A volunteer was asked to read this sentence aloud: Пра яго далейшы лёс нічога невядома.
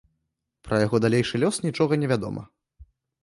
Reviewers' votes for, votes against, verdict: 2, 0, accepted